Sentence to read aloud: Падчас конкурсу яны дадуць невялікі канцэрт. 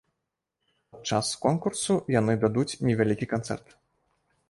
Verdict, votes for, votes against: rejected, 1, 2